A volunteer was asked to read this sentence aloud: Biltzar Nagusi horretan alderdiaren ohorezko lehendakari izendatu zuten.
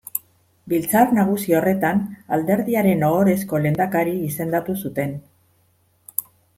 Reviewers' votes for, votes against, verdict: 2, 0, accepted